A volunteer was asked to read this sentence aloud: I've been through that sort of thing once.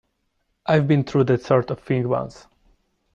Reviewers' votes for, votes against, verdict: 2, 0, accepted